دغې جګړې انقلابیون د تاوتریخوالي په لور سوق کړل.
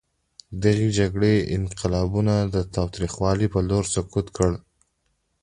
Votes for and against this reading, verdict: 2, 0, accepted